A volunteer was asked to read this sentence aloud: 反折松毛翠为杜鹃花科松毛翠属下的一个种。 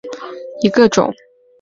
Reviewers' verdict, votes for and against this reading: rejected, 1, 6